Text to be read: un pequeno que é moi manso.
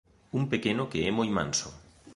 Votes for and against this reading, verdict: 3, 0, accepted